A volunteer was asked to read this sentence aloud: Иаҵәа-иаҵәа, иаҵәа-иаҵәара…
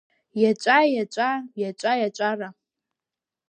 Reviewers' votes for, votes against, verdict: 1, 2, rejected